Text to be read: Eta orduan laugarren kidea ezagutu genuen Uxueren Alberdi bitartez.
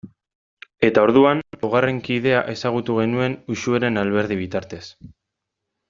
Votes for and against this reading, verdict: 2, 0, accepted